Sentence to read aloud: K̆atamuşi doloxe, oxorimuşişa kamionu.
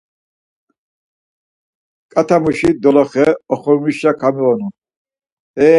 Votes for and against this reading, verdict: 0, 4, rejected